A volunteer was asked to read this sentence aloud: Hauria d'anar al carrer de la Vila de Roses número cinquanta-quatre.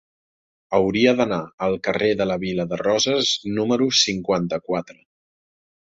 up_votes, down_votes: 3, 1